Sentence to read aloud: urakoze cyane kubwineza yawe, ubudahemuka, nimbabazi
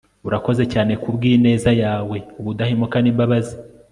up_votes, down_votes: 2, 0